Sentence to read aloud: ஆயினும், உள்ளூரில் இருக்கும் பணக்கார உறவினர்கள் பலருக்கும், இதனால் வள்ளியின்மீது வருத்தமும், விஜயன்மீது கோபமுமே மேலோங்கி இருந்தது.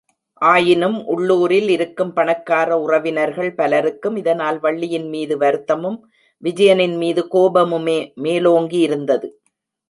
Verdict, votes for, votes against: rejected, 1, 2